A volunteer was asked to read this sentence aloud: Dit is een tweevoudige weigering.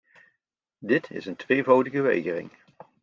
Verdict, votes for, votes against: accepted, 2, 0